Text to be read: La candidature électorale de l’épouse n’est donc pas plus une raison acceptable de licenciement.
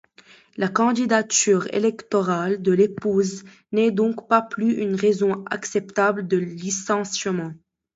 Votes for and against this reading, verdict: 0, 2, rejected